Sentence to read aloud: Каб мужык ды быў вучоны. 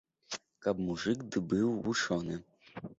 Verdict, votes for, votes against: accepted, 2, 0